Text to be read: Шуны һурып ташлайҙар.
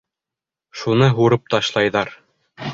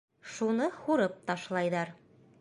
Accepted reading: first